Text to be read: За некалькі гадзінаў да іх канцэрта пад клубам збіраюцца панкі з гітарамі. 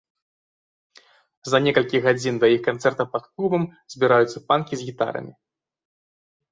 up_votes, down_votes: 1, 2